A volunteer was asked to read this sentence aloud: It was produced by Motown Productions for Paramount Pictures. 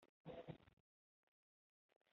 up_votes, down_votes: 0, 2